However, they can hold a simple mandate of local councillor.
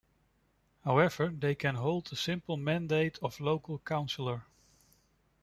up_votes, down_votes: 2, 0